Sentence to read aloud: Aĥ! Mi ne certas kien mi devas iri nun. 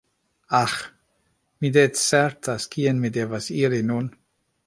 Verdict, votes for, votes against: accepted, 2, 1